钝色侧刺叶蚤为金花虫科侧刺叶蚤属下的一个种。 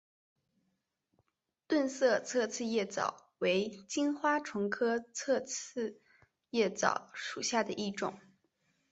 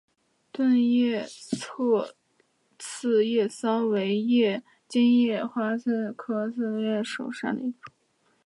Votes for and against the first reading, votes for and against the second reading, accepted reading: 4, 0, 0, 2, first